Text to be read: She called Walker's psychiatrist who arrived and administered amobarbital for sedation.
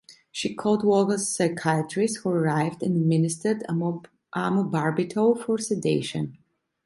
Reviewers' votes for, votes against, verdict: 0, 2, rejected